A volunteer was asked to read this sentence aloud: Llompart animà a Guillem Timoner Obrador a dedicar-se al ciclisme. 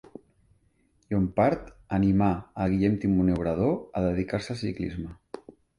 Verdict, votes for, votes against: accepted, 2, 0